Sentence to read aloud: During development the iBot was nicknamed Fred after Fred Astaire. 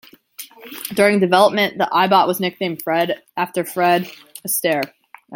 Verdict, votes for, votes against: accepted, 2, 0